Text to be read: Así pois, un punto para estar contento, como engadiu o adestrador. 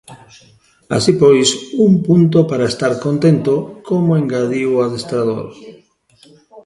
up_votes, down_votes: 2, 1